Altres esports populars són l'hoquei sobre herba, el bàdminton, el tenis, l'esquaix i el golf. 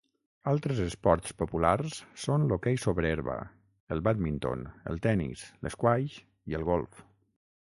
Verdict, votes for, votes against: accepted, 6, 0